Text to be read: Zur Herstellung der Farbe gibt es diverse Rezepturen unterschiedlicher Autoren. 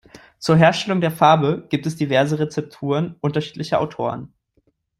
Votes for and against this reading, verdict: 2, 0, accepted